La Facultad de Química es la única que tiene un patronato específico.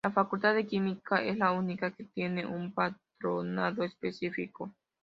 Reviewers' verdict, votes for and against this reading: accepted, 2, 0